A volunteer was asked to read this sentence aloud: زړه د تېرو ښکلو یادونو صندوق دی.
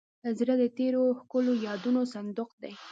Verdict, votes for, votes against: accepted, 2, 0